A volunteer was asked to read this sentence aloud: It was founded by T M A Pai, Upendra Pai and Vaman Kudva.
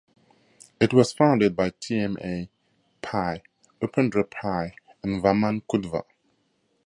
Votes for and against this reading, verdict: 2, 0, accepted